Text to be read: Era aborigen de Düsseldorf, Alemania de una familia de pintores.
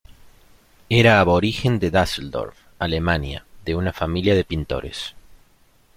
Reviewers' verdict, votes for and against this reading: accepted, 2, 0